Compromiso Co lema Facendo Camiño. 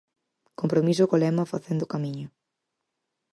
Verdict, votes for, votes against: accepted, 4, 0